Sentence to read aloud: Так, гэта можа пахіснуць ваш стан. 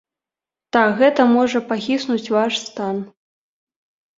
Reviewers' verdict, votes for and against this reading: accepted, 2, 0